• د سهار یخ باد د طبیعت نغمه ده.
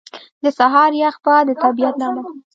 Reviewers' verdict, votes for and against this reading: rejected, 1, 2